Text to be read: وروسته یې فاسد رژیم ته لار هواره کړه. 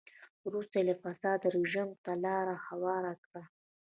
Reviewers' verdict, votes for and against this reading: rejected, 0, 2